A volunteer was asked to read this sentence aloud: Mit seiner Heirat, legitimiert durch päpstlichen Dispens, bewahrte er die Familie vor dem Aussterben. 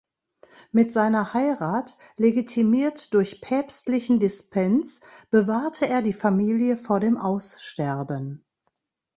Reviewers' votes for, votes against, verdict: 2, 0, accepted